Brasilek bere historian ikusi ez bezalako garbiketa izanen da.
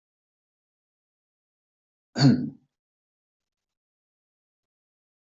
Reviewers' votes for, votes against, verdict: 0, 2, rejected